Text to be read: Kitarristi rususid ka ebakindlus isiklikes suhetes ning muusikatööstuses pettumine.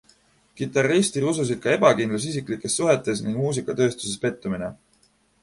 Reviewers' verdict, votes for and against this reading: accepted, 2, 0